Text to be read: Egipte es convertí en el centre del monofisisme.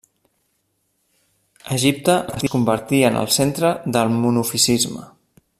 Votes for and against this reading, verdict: 1, 2, rejected